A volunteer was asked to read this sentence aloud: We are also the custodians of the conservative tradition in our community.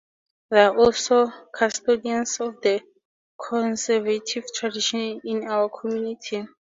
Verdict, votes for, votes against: rejected, 0, 2